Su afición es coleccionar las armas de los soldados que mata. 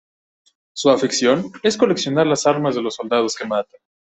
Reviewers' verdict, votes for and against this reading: rejected, 1, 2